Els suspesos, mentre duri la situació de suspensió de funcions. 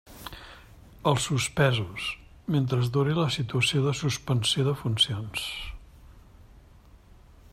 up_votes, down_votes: 1, 2